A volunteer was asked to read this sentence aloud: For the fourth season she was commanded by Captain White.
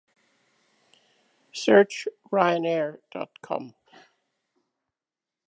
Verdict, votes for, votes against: rejected, 0, 2